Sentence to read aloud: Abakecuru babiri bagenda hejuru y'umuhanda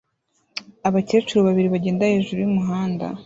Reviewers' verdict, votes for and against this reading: accepted, 2, 0